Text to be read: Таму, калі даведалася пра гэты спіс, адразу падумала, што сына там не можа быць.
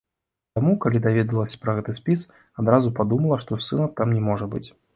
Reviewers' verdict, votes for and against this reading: rejected, 0, 2